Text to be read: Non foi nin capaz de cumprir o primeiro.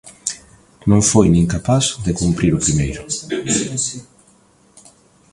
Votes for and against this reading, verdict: 1, 2, rejected